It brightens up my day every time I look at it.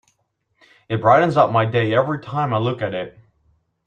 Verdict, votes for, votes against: accepted, 3, 0